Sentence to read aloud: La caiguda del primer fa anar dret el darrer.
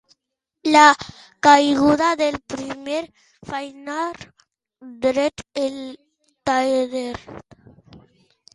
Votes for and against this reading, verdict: 2, 3, rejected